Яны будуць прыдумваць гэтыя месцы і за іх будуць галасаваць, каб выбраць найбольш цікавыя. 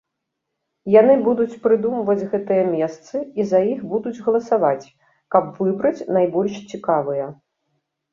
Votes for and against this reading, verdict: 2, 0, accepted